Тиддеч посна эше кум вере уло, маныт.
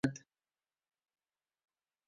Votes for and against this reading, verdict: 0, 2, rejected